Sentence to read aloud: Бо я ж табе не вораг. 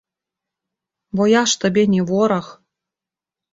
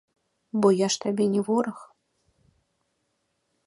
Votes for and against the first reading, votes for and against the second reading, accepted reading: 1, 2, 3, 0, second